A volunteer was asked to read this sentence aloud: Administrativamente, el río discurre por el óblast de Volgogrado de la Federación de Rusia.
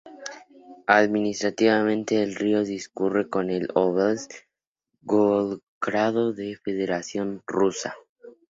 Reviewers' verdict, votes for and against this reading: rejected, 2, 2